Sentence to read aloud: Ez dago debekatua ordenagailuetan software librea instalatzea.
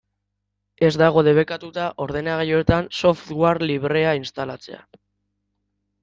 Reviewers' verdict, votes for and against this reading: rejected, 0, 2